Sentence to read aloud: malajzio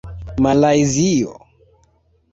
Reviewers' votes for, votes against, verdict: 3, 1, accepted